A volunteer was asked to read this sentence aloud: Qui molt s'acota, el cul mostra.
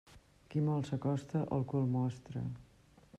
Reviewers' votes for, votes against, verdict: 1, 2, rejected